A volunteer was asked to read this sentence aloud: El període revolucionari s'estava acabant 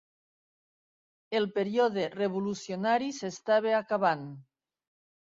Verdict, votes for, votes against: accepted, 3, 0